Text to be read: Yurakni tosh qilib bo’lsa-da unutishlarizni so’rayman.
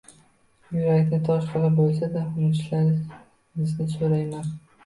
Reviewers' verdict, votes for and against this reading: rejected, 0, 2